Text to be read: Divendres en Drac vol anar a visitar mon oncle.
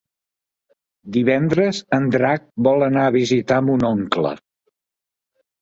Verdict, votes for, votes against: accepted, 3, 0